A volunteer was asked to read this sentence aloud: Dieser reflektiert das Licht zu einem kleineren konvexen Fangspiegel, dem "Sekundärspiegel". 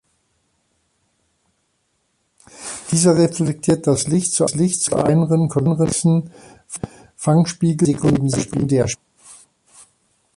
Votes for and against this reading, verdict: 0, 2, rejected